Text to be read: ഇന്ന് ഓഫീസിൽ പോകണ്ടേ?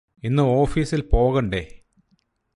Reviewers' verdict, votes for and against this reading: accepted, 4, 0